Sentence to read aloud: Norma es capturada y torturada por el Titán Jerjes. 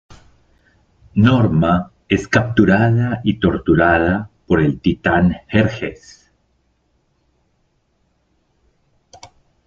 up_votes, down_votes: 1, 2